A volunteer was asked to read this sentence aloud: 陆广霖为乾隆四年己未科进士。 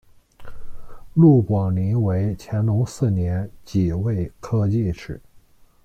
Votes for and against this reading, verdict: 0, 2, rejected